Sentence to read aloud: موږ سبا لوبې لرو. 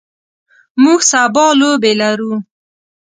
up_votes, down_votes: 2, 0